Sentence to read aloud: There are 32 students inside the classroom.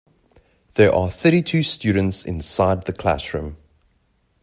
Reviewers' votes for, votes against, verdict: 0, 2, rejected